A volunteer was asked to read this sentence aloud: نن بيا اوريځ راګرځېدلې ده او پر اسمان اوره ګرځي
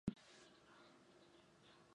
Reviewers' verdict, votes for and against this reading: rejected, 1, 2